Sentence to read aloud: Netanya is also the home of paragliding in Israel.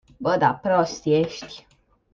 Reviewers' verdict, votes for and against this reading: rejected, 0, 2